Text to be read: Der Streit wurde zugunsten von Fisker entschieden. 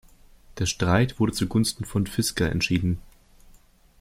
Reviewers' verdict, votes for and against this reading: accepted, 2, 0